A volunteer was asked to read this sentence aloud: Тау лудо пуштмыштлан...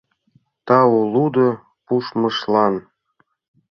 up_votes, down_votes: 0, 2